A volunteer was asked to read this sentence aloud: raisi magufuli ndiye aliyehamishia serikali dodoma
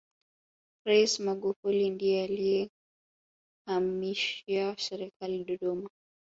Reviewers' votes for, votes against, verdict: 0, 2, rejected